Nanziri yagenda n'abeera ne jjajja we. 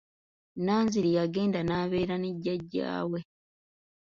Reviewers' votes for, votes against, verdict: 2, 0, accepted